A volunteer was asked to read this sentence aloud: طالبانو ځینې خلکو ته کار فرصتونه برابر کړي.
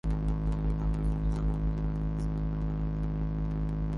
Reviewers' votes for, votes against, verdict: 0, 2, rejected